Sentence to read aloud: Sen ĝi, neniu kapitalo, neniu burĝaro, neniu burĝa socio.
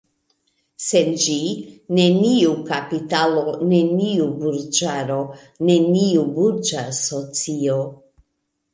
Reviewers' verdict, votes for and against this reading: accepted, 2, 0